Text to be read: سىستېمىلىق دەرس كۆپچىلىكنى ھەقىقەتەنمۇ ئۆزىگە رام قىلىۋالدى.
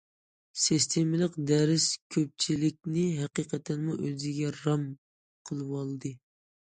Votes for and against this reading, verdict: 2, 0, accepted